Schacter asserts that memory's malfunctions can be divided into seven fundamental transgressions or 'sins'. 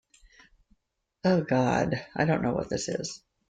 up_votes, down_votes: 0, 2